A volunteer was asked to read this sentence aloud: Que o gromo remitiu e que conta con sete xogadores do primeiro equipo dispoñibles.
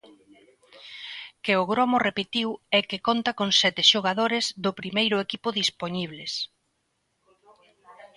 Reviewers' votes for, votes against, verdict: 0, 2, rejected